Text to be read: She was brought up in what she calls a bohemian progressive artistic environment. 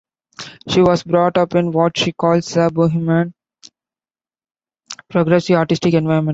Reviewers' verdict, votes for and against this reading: rejected, 1, 2